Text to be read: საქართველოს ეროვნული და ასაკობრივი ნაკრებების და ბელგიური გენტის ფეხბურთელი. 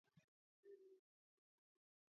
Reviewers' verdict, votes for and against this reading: rejected, 0, 2